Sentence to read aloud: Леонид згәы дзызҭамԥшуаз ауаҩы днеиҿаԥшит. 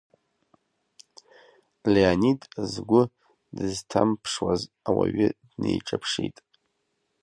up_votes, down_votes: 1, 2